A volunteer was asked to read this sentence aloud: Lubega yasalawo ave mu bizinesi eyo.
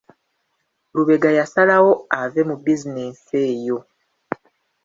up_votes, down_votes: 2, 1